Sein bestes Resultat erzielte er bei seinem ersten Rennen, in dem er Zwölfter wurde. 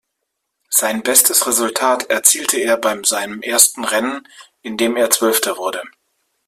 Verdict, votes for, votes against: rejected, 0, 2